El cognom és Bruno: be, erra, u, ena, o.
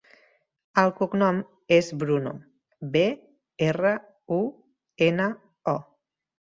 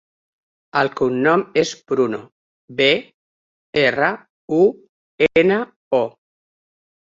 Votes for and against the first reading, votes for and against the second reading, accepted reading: 3, 0, 1, 2, first